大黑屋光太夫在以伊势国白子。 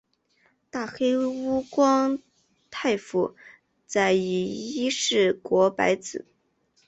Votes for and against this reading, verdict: 6, 1, accepted